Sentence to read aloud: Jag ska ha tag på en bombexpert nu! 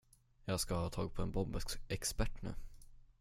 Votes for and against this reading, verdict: 0, 10, rejected